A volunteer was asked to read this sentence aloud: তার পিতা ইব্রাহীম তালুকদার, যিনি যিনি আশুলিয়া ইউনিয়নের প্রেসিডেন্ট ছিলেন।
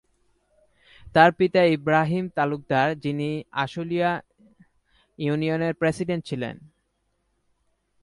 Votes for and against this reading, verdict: 0, 2, rejected